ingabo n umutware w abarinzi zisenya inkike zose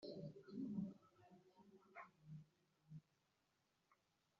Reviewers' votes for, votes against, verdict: 1, 2, rejected